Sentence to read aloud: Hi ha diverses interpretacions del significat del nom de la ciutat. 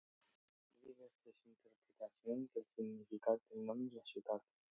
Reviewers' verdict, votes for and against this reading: rejected, 0, 2